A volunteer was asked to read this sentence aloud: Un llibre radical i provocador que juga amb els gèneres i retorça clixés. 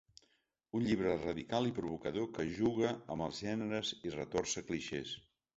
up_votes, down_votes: 3, 0